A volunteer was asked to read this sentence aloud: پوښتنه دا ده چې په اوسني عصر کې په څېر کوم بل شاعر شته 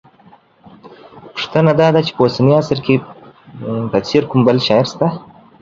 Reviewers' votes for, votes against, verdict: 2, 0, accepted